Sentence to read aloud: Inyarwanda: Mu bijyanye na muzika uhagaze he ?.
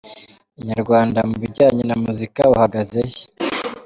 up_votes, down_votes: 2, 0